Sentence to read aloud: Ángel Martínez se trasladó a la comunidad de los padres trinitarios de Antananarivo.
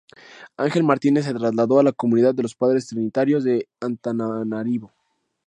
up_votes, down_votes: 0, 2